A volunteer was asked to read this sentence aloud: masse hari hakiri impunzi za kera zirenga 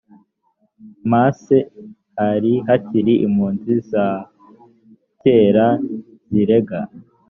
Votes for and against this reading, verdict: 1, 2, rejected